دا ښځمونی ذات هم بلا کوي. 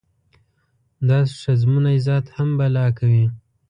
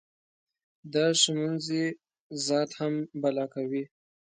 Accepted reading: second